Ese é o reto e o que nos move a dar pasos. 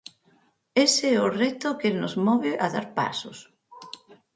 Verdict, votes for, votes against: rejected, 0, 6